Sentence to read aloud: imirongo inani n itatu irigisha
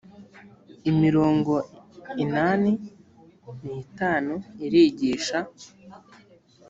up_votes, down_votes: 0, 2